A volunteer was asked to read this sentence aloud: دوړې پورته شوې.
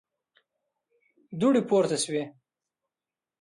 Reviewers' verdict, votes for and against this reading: accepted, 2, 0